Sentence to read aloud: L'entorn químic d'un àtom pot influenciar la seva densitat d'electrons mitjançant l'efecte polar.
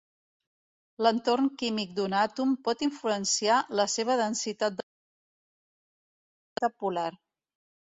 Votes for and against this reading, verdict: 0, 2, rejected